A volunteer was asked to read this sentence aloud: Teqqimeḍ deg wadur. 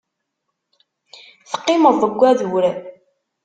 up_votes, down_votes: 2, 0